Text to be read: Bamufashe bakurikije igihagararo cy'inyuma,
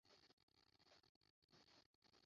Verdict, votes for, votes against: rejected, 0, 2